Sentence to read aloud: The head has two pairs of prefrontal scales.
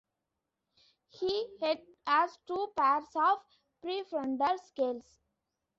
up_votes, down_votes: 1, 2